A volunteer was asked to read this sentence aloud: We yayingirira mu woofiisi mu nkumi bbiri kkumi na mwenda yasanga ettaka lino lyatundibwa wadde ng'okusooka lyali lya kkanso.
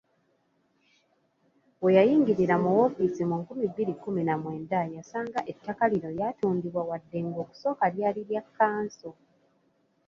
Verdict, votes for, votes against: accepted, 2, 0